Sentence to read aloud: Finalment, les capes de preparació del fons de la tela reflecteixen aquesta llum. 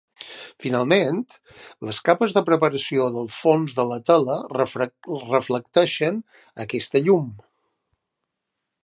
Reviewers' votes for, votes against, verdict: 1, 2, rejected